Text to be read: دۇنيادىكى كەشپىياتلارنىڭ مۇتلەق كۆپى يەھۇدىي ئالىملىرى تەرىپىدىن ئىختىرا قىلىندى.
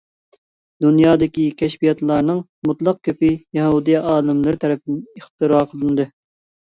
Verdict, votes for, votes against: accepted, 2, 0